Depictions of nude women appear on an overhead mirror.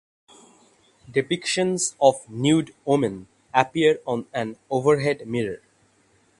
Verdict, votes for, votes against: accepted, 6, 0